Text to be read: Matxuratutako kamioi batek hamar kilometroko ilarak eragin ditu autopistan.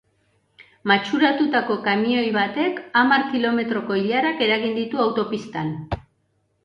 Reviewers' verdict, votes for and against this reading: accepted, 2, 0